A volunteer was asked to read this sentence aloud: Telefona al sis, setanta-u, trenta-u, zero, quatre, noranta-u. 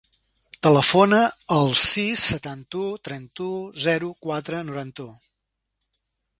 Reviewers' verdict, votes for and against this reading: rejected, 0, 2